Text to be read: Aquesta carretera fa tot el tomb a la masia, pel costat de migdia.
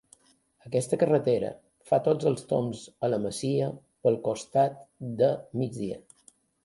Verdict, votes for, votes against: rejected, 1, 2